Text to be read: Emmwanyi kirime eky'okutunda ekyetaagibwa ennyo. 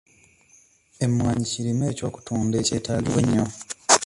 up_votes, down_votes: 1, 2